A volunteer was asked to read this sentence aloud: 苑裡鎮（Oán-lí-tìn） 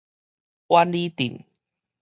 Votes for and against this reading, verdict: 2, 0, accepted